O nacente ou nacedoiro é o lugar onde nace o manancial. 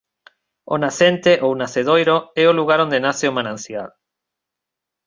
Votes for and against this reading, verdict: 2, 0, accepted